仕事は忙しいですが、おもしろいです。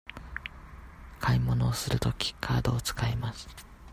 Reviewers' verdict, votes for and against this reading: rejected, 0, 2